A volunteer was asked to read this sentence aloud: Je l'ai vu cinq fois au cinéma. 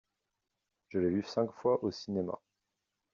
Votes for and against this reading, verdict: 2, 1, accepted